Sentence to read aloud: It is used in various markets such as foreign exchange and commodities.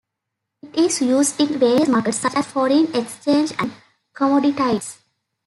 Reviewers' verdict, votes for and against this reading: rejected, 0, 2